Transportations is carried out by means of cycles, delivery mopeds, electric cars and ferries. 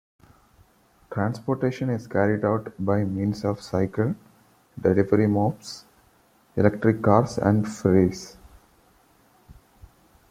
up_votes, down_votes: 1, 2